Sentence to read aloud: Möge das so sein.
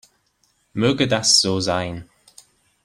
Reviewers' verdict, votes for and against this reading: accepted, 2, 0